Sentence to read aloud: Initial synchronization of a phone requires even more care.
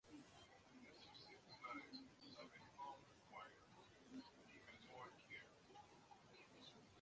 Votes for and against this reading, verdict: 0, 2, rejected